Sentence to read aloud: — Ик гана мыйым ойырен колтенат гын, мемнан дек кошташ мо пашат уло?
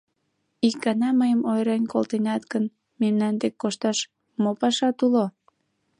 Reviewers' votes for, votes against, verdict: 2, 0, accepted